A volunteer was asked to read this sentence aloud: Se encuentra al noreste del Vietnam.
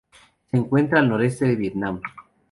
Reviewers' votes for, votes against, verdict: 2, 0, accepted